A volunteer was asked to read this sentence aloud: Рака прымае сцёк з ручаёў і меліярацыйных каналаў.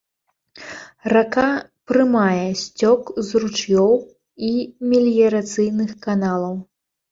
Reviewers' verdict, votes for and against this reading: rejected, 0, 2